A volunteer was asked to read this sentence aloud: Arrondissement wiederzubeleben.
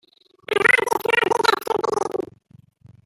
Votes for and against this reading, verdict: 0, 2, rejected